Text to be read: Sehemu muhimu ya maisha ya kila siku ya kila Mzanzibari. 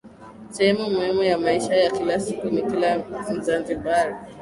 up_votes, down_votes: 2, 0